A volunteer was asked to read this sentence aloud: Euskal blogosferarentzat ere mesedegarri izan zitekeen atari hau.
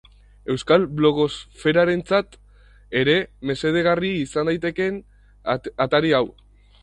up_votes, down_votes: 0, 4